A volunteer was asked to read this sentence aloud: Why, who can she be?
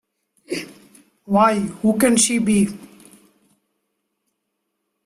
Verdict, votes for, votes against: rejected, 0, 2